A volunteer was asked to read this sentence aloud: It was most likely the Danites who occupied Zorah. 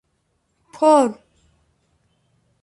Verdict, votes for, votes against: rejected, 0, 2